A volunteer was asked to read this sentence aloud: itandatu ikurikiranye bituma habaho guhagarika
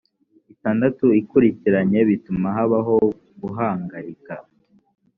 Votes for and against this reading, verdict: 1, 2, rejected